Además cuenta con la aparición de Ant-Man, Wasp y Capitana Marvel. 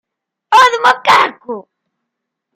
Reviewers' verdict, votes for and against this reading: rejected, 0, 2